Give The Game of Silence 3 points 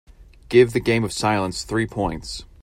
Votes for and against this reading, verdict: 0, 2, rejected